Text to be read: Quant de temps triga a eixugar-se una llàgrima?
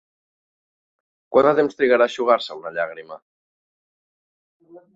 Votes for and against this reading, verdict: 1, 2, rejected